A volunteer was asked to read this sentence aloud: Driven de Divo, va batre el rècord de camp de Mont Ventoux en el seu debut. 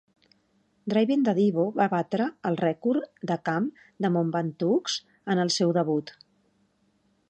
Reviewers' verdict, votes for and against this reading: accepted, 2, 0